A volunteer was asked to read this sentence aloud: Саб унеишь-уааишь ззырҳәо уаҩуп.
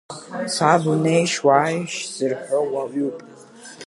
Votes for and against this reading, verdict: 1, 3, rejected